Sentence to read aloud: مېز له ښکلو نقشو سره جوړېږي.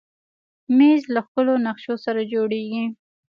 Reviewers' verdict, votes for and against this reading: accepted, 2, 1